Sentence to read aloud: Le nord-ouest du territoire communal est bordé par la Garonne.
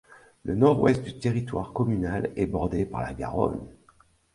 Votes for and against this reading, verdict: 2, 1, accepted